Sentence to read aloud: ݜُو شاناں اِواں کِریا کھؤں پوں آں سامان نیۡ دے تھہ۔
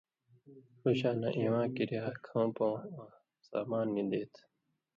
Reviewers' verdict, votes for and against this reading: accepted, 2, 0